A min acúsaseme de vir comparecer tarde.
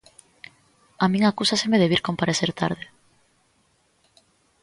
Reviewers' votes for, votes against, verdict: 2, 0, accepted